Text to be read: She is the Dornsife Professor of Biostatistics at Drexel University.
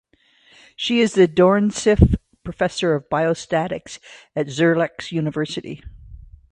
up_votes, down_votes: 0, 2